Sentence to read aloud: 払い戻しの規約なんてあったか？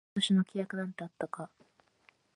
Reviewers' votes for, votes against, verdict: 1, 2, rejected